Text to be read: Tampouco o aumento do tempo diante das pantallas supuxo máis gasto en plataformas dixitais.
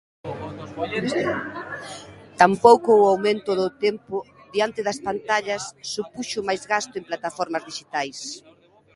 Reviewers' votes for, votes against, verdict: 2, 1, accepted